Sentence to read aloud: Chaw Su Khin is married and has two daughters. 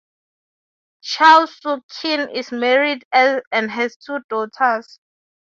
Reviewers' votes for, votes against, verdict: 3, 3, rejected